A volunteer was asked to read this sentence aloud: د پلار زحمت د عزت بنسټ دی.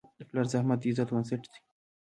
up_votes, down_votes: 1, 2